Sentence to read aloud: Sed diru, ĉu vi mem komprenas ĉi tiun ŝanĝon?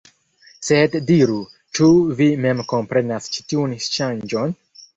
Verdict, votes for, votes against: rejected, 1, 2